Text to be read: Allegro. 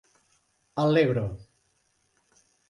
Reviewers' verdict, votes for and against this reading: accepted, 2, 1